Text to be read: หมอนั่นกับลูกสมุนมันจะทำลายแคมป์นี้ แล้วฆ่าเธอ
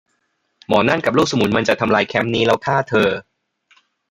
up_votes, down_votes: 2, 0